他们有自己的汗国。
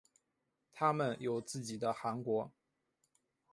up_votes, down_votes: 2, 0